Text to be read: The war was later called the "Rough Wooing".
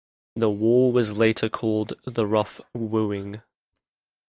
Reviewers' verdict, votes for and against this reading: accepted, 2, 0